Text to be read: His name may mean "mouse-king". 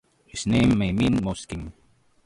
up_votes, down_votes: 0, 2